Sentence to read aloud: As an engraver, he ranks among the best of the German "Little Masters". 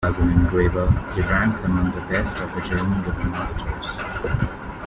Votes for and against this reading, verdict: 2, 1, accepted